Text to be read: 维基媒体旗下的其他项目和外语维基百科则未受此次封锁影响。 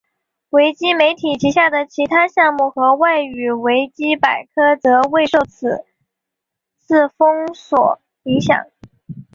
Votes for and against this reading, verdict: 10, 0, accepted